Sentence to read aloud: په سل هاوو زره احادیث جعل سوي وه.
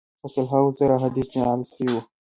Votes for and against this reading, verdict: 1, 2, rejected